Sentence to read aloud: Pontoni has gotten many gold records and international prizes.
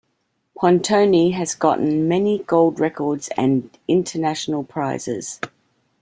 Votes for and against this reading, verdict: 2, 0, accepted